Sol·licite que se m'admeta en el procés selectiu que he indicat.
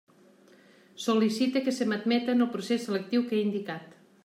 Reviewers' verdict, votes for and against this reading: accepted, 2, 0